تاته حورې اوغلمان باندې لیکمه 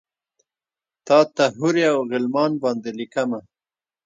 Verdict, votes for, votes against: rejected, 1, 2